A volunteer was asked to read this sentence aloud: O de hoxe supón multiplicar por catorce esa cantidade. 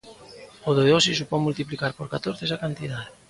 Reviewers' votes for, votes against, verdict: 1, 2, rejected